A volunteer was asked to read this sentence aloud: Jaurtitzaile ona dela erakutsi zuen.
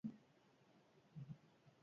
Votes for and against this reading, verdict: 0, 4, rejected